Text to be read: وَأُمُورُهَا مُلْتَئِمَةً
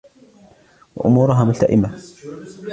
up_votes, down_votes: 1, 2